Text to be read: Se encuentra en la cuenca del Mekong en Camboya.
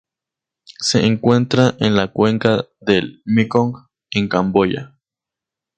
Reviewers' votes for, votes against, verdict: 2, 0, accepted